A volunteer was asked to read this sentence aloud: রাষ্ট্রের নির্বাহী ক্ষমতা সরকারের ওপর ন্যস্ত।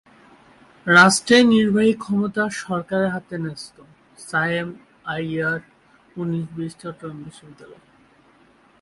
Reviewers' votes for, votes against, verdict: 0, 2, rejected